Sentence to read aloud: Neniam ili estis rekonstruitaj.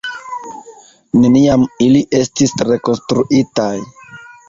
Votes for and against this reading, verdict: 1, 2, rejected